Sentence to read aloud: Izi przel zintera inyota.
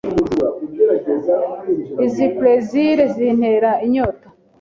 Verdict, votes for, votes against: accepted, 2, 0